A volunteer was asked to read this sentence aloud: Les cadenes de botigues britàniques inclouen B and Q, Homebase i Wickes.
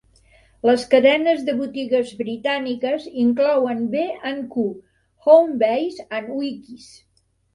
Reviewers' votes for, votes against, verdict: 1, 2, rejected